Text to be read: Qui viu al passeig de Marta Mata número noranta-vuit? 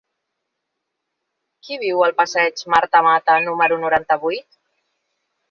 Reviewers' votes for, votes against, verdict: 0, 2, rejected